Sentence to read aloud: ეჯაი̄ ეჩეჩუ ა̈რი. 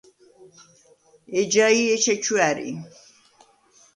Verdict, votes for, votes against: accepted, 2, 0